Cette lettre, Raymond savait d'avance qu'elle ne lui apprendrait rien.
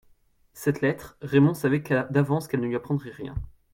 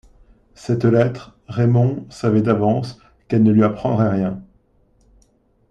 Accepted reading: second